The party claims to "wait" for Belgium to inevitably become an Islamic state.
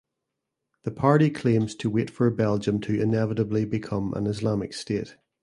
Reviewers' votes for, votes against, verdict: 2, 0, accepted